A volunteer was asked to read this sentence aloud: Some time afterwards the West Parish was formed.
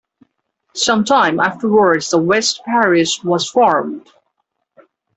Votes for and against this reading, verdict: 2, 0, accepted